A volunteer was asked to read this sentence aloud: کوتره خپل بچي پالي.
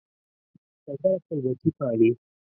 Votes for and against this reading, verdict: 1, 2, rejected